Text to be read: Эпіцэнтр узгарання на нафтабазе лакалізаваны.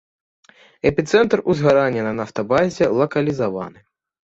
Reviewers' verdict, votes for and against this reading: accepted, 3, 0